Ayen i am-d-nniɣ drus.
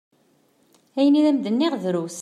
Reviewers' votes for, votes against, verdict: 2, 0, accepted